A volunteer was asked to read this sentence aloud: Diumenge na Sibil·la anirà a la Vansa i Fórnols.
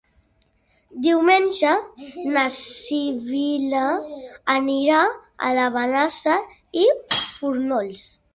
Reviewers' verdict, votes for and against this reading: rejected, 0, 2